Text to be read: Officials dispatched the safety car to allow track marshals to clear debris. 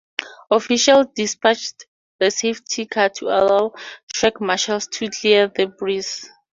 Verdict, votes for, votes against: accepted, 2, 0